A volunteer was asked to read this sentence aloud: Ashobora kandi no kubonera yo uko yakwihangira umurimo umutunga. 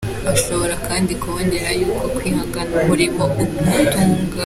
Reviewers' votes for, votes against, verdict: 2, 1, accepted